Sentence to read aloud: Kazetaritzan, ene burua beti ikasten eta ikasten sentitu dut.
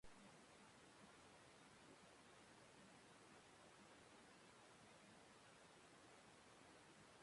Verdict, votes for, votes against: rejected, 0, 2